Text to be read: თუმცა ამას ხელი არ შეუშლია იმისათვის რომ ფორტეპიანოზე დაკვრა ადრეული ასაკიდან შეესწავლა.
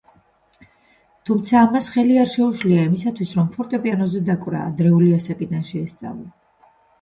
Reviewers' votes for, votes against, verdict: 2, 0, accepted